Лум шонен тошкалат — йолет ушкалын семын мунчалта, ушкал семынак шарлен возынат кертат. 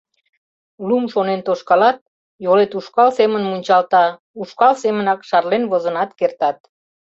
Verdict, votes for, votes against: rejected, 0, 2